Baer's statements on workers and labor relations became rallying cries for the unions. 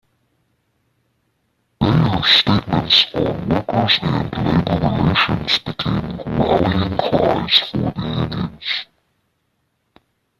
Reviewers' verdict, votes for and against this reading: rejected, 0, 2